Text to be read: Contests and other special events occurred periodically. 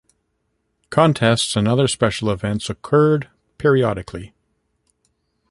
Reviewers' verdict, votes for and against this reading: accepted, 2, 0